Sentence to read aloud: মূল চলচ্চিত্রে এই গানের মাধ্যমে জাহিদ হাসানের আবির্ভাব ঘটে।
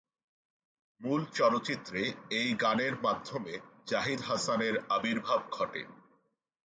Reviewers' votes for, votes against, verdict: 2, 0, accepted